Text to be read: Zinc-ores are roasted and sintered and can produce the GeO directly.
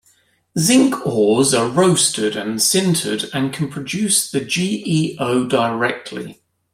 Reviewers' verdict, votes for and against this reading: rejected, 1, 2